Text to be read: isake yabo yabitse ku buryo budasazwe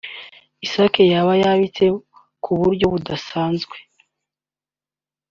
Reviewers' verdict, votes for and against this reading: accepted, 2, 0